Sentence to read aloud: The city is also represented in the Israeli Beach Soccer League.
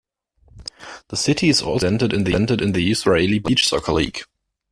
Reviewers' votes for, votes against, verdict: 1, 2, rejected